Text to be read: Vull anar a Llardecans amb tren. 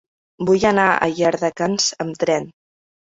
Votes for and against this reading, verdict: 2, 0, accepted